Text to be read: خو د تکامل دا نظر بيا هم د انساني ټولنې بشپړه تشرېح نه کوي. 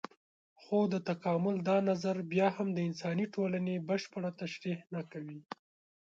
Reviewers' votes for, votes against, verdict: 2, 0, accepted